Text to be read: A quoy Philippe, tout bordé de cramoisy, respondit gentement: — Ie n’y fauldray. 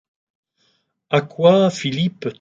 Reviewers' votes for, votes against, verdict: 0, 2, rejected